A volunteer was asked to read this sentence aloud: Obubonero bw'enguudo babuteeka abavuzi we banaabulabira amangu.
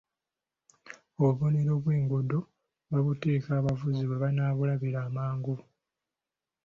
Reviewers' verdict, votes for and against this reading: accepted, 2, 0